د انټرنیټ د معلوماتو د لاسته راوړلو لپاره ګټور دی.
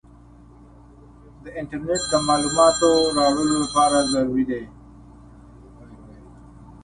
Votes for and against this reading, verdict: 1, 2, rejected